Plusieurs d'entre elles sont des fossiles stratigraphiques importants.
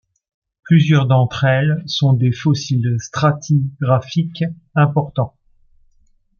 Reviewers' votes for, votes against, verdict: 2, 1, accepted